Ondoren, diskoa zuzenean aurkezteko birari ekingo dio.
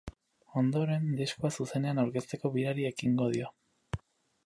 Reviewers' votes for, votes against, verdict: 0, 4, rejected